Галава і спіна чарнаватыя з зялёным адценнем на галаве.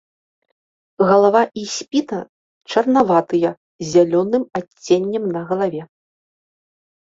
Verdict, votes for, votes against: rejected, 0, 2